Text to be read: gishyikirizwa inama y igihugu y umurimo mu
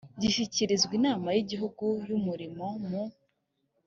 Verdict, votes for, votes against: accepted, 2, 0